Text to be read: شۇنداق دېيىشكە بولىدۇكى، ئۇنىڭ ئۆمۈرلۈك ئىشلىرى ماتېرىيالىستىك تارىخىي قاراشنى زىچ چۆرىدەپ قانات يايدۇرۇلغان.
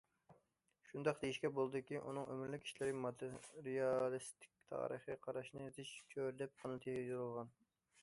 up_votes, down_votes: 0, 2